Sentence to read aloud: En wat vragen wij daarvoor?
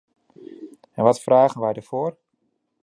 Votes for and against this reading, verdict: 2, 0, accepted